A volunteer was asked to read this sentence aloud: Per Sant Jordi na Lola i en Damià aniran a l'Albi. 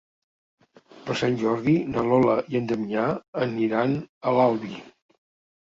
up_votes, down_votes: 1, 2